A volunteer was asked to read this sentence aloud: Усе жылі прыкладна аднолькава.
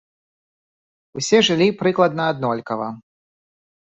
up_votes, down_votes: 2, 0